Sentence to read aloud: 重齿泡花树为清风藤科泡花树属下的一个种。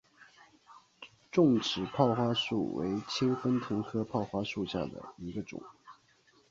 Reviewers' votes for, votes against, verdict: 5, 1, accepted